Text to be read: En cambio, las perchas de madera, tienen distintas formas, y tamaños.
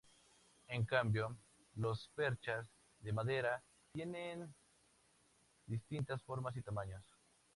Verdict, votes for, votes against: rejected, 0, 2